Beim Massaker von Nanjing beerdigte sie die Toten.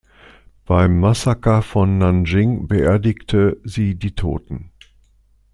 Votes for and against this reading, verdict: 2, 0, accepted